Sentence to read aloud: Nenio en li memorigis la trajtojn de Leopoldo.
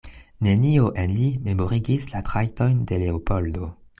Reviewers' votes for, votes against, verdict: 2, 0, accepted